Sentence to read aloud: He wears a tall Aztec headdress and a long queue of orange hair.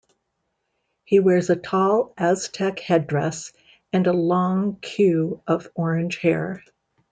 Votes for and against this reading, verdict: 2, 0, accepted